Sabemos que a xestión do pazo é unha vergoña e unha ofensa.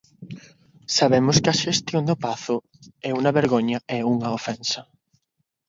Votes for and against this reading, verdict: 0, 6, rejected